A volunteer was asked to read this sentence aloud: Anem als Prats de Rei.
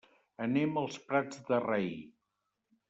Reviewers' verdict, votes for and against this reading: accepted, 3, 0